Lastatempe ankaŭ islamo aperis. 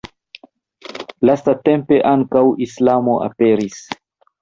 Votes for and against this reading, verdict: 1, 2, rejected